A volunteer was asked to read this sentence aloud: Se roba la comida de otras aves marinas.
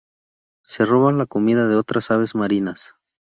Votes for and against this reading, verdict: 2, 0, accepted